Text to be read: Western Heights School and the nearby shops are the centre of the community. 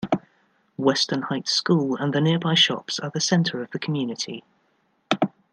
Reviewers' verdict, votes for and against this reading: accepted, 2, 0